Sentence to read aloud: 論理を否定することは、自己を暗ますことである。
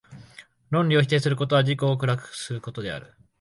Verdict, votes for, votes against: rejected, 0, 3